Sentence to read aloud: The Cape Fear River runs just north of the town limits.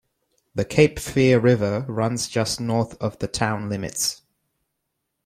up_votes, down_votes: 2, 0